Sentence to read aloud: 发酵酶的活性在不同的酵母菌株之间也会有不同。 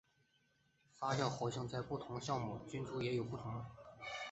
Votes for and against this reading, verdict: 0, 3, rejected